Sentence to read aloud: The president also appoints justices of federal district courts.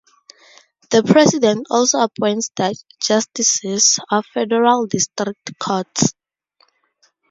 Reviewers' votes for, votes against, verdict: 0, 2, rejected